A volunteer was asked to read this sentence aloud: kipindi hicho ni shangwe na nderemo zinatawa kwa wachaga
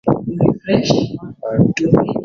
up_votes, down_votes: 0, 2